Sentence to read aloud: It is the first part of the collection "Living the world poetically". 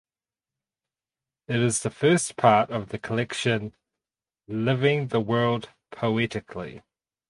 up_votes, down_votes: 4, 0